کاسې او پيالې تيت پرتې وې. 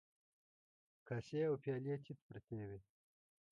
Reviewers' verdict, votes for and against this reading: rejected, 0, 2